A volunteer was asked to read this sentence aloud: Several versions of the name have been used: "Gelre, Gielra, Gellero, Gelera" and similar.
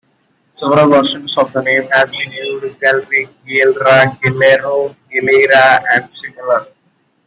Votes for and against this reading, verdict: 2, 0, accepted